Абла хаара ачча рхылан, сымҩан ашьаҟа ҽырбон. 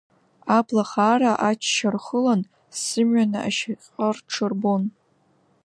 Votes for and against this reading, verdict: 2, 0, accepted